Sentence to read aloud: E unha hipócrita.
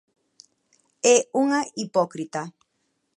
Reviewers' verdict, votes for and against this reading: rejected, 0, 2